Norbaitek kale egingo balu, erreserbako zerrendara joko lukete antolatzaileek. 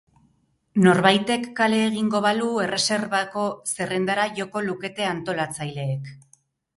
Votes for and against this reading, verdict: 4, 0, accepted